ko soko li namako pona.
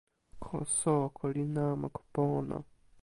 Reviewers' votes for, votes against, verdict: 2, 0, accepted